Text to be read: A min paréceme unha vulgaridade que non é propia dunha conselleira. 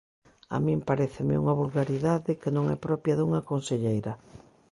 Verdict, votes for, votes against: accepted, 2, 0